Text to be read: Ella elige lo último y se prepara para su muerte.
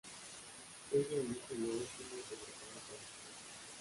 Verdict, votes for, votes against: rejected, 0, 2